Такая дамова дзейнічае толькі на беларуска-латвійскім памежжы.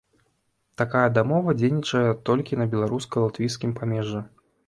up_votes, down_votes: 2, 0